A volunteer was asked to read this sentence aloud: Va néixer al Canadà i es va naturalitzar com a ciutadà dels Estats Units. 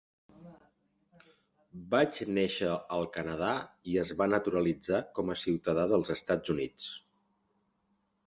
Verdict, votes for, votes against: rejected, 0, 3